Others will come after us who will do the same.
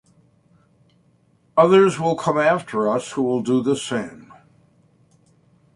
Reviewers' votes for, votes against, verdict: 2, 0, accepted